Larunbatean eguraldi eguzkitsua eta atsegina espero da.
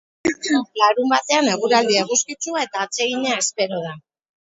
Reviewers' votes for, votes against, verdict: 2, 4, rejected